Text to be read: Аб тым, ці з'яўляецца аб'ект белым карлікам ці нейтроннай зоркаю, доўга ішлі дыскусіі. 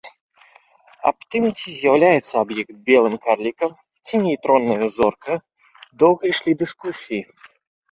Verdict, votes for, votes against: accepted, 2, 0